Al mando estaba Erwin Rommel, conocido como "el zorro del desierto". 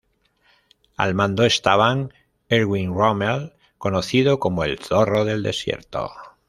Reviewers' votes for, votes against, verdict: 1, 2, rejected